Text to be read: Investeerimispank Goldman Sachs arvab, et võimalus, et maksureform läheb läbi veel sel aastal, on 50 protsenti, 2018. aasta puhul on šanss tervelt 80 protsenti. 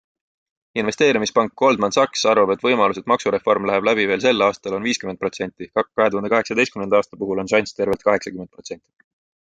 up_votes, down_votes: 0, 2